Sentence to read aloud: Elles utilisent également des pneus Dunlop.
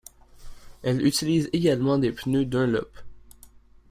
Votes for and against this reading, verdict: 0, 2, rejected